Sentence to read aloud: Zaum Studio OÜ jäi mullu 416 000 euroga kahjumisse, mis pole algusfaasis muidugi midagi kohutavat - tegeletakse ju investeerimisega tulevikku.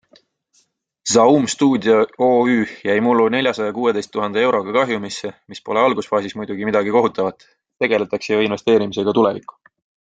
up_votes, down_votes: 0, 2